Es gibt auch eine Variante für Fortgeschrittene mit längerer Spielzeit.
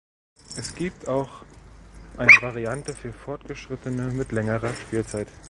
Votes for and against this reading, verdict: 1, 2, rejected